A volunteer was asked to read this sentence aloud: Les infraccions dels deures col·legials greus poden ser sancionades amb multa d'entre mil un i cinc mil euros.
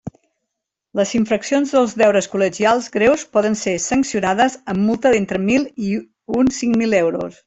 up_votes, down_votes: 0, 2